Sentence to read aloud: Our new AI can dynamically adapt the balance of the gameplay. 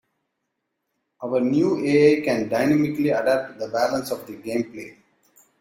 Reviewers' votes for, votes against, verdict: 2, 1, accepted